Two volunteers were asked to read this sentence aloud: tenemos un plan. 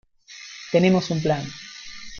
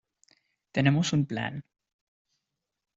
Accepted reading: second